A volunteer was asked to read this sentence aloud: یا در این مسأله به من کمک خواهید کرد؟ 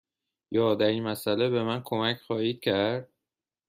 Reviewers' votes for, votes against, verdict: 2, 0, accepted